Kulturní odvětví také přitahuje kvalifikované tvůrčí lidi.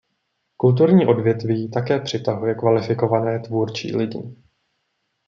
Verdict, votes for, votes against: accepted, 2, 1